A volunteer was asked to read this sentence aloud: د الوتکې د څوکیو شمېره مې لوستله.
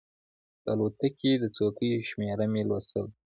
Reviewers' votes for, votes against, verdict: 0, 2, rejected